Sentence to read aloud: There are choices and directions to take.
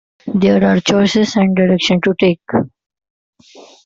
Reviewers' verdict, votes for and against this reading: rejected, 1, 2